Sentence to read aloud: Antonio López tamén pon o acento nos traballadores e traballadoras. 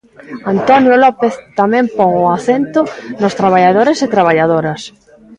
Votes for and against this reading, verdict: 0, 2, rejected